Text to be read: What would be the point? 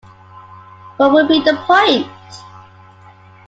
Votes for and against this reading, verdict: 2, 1, accepted